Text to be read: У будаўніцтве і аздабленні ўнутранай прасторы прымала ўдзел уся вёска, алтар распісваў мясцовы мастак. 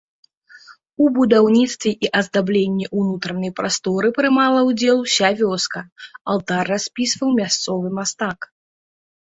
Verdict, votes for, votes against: accepted, 2, 0